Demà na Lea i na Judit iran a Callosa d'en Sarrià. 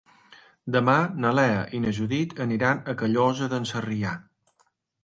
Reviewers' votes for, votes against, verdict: 0, 2, rejected